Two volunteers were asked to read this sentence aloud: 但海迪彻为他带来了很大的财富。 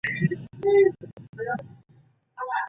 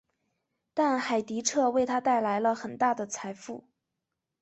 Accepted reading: second